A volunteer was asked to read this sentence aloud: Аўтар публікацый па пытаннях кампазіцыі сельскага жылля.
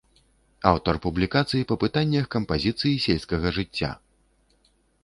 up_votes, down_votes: 0, 2